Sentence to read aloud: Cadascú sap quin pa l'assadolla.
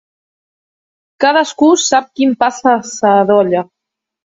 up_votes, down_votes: 1, 2